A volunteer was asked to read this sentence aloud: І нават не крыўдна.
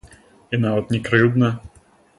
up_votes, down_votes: 0, 2